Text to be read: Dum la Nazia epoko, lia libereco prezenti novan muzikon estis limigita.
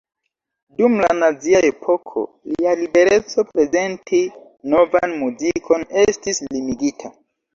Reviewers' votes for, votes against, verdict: 1, 2, rejected